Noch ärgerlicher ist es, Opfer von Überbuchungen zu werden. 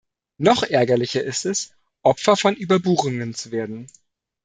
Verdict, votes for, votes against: accepted, 2, 0